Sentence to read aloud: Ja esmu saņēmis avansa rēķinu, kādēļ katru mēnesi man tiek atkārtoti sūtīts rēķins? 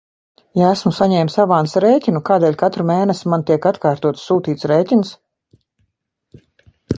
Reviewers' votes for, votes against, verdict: 2, 0, accepted